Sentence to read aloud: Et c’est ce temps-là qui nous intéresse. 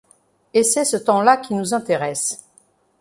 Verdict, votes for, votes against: accepted, 2, 0